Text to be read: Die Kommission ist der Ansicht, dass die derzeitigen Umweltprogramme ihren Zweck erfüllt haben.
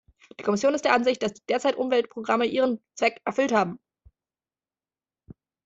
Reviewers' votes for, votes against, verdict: 0, 2, rejected